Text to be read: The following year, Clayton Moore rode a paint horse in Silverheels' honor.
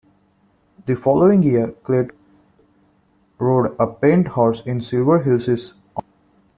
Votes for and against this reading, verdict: 0, 2, rejected